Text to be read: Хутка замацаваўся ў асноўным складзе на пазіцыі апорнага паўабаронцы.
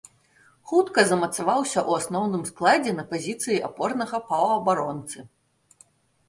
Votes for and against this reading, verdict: 2, 0, accepted